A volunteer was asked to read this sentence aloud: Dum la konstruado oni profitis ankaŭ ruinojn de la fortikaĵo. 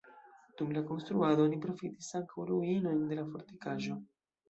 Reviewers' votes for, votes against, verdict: 1, 2, rejected